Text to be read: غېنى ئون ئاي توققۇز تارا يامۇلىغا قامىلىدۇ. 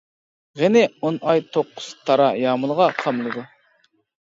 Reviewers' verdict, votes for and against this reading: rejected, 1, 2